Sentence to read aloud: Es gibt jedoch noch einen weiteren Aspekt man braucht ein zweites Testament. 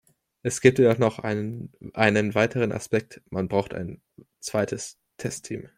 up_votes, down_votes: 0, 2